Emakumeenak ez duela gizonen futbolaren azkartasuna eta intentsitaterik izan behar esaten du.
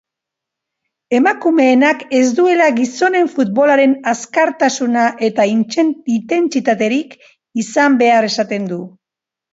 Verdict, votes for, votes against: rejected, 1, 2